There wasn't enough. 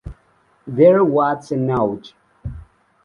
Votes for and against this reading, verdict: 0, 2, rejected